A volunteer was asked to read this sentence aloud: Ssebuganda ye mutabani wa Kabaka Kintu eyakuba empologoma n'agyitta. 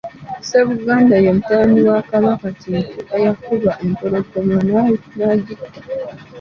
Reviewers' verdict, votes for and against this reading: accepted, 2, 0